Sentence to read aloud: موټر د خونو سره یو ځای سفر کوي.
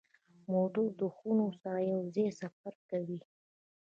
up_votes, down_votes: 0, 2